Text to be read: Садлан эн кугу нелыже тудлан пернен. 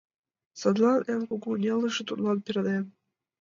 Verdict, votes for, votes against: rejected, 1, 2